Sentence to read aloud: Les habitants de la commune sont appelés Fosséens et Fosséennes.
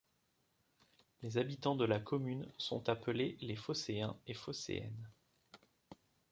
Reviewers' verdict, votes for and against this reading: rejected, 1, 2